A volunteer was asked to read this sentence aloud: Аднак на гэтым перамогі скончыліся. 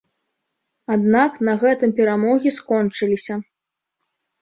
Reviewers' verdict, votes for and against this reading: accepted, 2, 0